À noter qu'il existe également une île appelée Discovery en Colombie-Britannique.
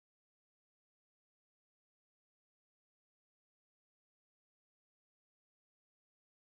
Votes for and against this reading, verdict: 0, 2, rejected